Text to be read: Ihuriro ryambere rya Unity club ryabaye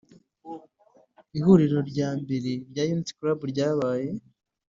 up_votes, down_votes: 3, 0